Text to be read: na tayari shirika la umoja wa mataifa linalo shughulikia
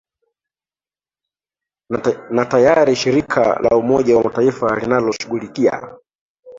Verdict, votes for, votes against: rejected, 0, 3